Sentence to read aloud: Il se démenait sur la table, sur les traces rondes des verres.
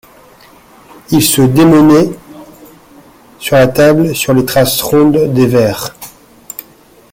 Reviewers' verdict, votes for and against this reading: accepted, 2, 0